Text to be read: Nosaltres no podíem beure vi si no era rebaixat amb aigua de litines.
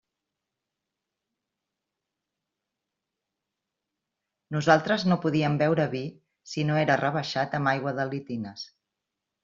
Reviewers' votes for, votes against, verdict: 2, 0, accepted